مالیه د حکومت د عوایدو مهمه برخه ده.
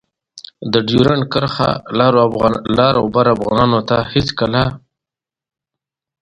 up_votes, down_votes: 0, 2